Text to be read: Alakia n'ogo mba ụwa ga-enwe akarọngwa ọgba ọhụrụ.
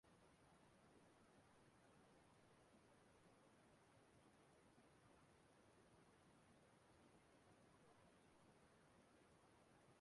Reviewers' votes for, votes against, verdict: 0, 2, rejected